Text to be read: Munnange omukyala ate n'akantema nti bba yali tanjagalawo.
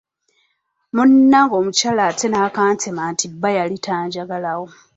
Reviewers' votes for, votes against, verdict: 1, 2, rejected